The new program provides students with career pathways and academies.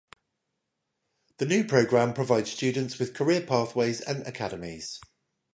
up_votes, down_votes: 10, 0